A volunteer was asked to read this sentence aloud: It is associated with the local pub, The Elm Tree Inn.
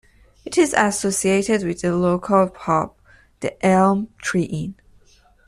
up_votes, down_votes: 2, 0